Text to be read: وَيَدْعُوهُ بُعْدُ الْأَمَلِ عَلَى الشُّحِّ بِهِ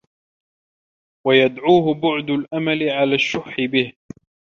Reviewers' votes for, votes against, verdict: 1, 2, rejected